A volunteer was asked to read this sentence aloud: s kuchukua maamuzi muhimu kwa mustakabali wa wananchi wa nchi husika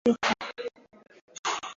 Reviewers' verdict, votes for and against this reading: rejected, 0, 2